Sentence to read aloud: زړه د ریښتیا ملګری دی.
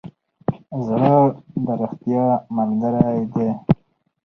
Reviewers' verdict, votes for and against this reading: accepted, 4, 2